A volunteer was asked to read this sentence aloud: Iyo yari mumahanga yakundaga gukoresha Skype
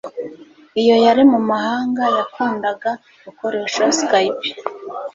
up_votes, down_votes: 2, 0